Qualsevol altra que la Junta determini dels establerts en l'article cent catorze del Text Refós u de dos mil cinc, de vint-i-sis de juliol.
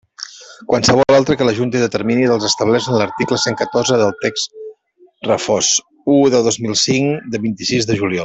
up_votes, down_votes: 1, 2